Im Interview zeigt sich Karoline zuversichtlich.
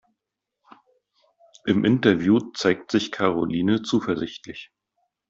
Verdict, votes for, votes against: accepted, 2, 0